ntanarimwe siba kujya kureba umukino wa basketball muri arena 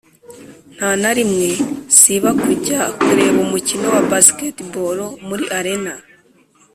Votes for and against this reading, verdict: 2, 0, accepted